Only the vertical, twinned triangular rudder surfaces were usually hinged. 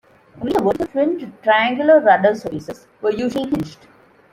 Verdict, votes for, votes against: rejected, 0, 2